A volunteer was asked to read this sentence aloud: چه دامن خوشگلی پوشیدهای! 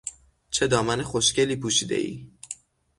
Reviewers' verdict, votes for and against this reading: accepted, 12, 0